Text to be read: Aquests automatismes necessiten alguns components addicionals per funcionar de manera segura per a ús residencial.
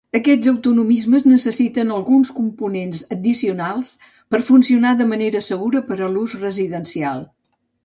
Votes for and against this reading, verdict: 0, 3, rejected